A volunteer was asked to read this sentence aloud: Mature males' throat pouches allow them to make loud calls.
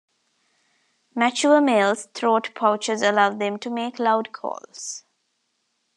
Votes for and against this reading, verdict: 2, 0, accepted